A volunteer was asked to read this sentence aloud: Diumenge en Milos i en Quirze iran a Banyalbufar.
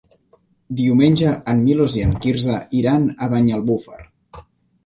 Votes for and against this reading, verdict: 3, 1, accepted